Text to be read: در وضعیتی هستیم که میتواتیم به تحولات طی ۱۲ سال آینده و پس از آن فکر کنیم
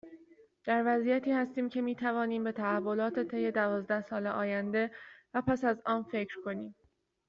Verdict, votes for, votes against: rejected, 0, 2